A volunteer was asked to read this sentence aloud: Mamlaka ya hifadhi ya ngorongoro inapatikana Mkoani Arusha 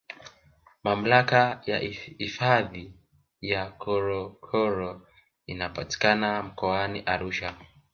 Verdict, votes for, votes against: accepted, 2, 1